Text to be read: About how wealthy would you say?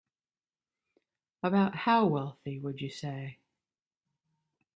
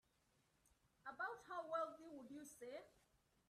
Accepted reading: first